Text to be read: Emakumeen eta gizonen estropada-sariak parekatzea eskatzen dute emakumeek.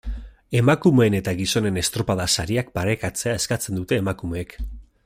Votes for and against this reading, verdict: 2, 0, accepted